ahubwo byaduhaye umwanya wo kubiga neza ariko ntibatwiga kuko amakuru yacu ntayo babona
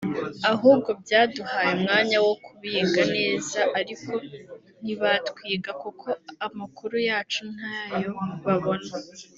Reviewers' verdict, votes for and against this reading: accepted, 2, 1